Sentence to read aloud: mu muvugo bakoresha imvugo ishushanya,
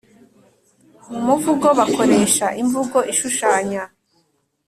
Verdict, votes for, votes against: accepted, 2, 0